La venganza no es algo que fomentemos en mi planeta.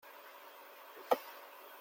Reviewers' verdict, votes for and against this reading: rejected, 0, 2